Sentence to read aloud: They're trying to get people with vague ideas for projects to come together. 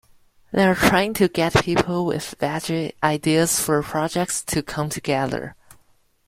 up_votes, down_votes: 0, 2